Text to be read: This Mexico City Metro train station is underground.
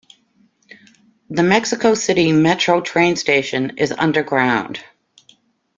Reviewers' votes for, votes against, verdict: 0, 2, rejected